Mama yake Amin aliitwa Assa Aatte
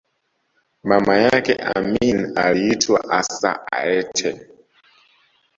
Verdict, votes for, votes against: rejected, 0, 2